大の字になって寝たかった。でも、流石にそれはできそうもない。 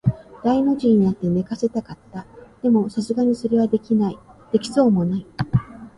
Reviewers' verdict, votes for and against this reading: rejected, 0, 2